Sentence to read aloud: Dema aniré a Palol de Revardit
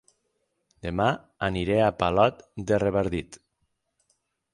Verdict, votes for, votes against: rejected, 0, 6